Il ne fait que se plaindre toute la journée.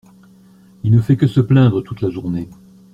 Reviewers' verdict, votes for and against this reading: accepted, 2, 0